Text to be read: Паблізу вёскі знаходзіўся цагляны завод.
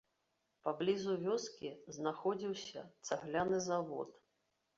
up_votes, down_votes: 2, 0